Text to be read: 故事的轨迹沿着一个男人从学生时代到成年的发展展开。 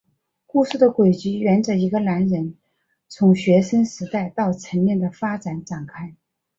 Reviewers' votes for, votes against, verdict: 3, 4, rejected